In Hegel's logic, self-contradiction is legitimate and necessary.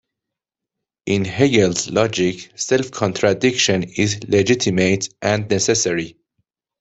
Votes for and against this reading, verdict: 0, 2, rejected